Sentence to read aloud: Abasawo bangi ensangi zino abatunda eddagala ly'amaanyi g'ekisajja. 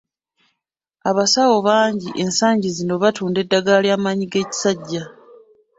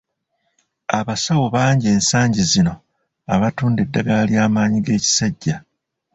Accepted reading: second